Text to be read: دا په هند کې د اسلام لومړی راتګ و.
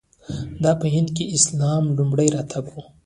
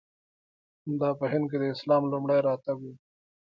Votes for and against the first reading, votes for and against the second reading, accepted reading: 1, 2, 2, 0, second